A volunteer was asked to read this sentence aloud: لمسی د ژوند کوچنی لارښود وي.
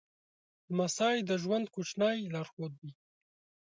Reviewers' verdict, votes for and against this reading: accepted, 2, 0